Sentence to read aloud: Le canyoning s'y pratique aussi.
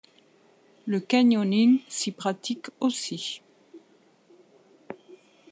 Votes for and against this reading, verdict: 2, 0, accepted